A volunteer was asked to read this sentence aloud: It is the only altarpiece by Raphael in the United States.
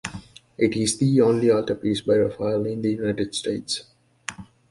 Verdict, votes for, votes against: rejected, 0, 2